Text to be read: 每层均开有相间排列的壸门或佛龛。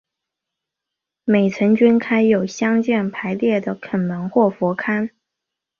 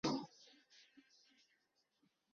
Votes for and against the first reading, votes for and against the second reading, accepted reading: 2, 0, 0, 2, first